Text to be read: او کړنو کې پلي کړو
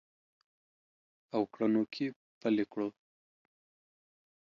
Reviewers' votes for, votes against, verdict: 2, 0, accepted